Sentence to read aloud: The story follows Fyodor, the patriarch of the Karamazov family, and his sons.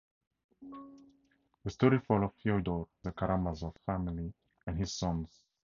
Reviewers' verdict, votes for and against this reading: rejected, 0, 4